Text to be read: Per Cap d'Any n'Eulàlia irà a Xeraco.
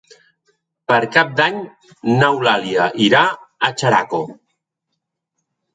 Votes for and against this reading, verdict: 3, 0, accepted